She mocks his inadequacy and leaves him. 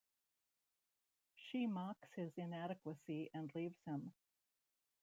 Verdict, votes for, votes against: rejected, 1, 2